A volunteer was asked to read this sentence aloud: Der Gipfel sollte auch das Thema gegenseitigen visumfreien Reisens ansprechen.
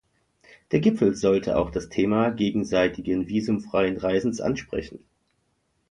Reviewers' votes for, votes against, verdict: 2, 0, accepted